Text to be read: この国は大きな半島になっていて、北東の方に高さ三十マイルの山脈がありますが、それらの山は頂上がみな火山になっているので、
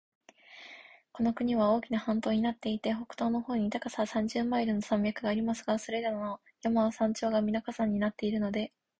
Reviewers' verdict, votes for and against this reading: rejected, 1, 2